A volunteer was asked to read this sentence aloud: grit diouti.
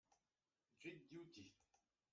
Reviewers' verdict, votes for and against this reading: rejected, 0, 2